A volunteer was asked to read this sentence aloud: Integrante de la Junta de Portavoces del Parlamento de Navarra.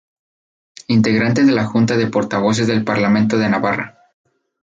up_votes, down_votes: 2, 0